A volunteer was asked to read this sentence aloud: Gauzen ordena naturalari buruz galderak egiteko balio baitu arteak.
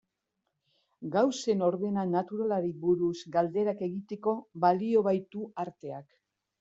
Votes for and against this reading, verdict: 0, 2, rejected